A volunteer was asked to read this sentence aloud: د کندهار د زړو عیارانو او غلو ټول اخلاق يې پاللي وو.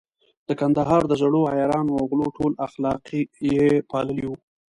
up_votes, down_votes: 2, 1